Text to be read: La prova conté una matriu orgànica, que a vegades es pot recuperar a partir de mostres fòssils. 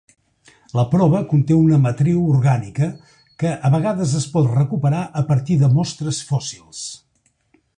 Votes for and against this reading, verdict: 3, 0, accepted